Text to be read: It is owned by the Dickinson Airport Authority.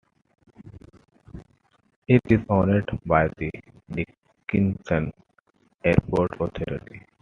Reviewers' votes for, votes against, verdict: 1, 2, rejected